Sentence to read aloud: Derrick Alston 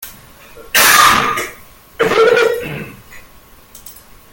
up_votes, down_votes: 0, 2